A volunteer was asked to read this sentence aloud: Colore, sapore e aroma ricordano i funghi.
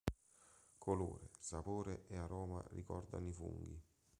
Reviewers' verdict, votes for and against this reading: rejected, 0, 2